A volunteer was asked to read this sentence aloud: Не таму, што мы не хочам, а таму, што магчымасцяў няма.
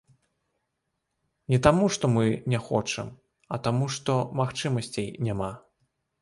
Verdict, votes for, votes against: rejected, 1, 2